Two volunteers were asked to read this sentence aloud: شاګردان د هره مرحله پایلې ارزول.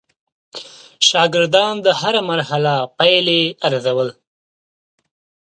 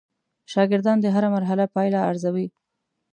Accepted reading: first